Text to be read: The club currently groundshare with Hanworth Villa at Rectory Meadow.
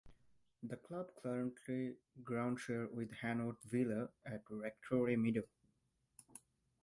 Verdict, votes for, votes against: rejected, 0, 4